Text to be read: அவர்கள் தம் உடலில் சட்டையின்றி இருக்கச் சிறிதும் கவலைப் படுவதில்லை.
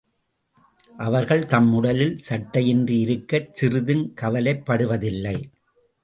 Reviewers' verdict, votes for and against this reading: accepted, 2, 0